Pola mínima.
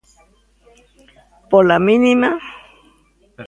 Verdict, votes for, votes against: accepted, 2, 0